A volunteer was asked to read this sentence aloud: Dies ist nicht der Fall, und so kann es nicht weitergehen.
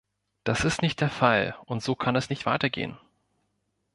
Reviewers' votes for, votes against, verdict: 1, 2, rejected